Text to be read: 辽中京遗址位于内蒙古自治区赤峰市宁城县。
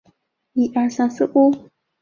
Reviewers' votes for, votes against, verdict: 0, 3, rejected